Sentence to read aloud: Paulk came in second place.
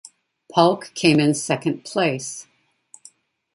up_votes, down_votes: 2, 0